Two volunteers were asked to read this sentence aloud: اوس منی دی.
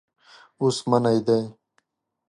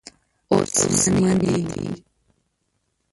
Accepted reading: first